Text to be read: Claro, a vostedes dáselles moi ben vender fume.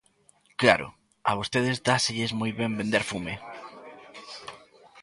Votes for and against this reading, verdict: 2, 0, accepted